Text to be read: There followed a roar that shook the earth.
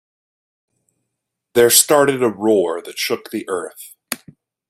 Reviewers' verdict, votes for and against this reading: rejected, 0, 2